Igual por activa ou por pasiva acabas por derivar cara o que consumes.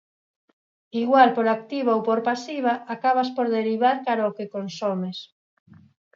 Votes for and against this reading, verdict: 2, 4, rejected